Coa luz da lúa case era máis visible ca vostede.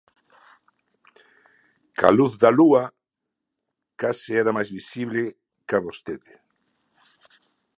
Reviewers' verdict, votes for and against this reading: accepted, 2, 0